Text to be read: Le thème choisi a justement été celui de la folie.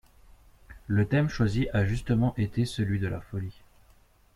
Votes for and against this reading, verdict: 1, 2, rejected